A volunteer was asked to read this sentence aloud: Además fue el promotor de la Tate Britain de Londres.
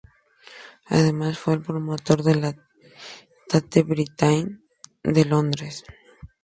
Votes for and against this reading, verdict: 0, 2, rejected